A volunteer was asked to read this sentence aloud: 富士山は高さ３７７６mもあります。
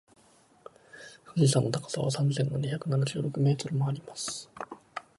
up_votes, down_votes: 0, 2